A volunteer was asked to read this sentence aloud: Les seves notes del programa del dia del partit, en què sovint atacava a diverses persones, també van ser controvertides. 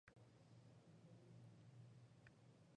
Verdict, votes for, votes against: rejected, 0, 2